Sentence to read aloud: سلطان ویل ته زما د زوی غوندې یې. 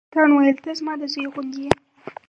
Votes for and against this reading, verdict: 4, 2, accepted